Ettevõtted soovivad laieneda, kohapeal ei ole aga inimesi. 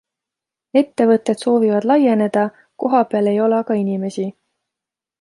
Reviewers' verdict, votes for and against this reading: accepted, 2, 0